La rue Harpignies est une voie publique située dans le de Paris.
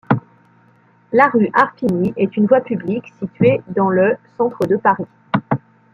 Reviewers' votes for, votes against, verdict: 1, 2, rejected